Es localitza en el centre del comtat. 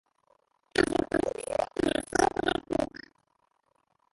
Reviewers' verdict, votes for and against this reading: rejected, 0, 2